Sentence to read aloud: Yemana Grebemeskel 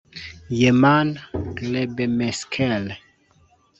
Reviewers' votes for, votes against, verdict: 0, 2, rejected